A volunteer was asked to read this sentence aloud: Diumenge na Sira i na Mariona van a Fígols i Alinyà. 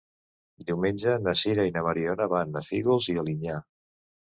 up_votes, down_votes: 2, 0